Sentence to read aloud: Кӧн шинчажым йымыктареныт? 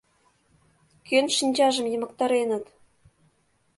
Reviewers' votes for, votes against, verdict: 2, 0, accepted